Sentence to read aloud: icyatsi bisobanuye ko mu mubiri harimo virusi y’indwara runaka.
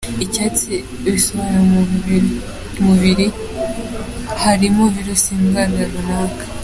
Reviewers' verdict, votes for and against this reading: accepted, 2, 1